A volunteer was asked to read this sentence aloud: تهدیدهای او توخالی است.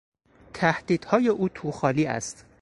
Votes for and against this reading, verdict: 4, 0, accepted